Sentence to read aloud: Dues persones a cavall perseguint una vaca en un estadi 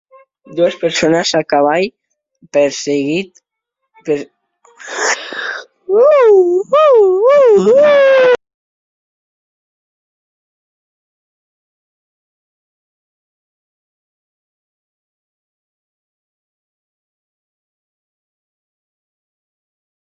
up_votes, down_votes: 0, 2